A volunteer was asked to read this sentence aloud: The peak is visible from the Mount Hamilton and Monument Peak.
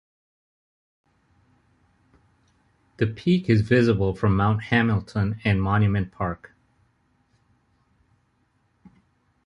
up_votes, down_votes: 0, 2